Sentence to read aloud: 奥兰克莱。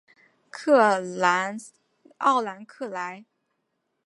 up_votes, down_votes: 1, 2